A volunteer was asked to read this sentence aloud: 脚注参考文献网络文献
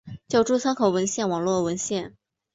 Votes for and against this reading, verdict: 3, 0, accepted